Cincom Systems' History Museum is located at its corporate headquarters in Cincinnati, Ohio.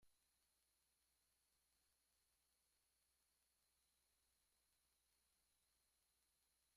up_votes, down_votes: 1, 2